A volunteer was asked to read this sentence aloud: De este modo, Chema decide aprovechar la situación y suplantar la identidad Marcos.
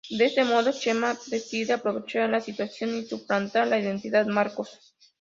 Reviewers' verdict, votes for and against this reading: accepted, 2, 0